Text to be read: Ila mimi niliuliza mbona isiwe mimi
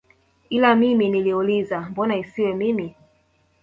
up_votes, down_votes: 1, 2